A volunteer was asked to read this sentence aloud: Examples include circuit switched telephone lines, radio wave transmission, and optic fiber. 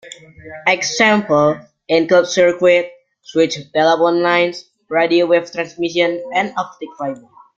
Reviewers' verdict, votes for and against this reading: rejected, 0, 2